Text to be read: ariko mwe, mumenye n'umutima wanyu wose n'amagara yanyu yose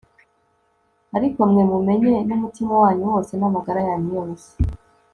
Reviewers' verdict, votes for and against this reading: rejected, 0, 2